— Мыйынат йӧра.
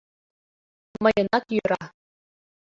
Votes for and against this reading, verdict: 1, 2, rejected